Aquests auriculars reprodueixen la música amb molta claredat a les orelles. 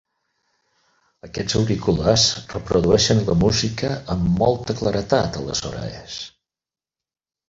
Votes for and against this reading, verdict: 2, 4, rejected